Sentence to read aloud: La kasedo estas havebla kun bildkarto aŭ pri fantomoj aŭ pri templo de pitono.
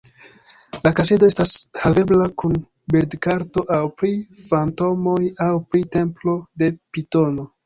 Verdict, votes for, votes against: rejected, 0, 2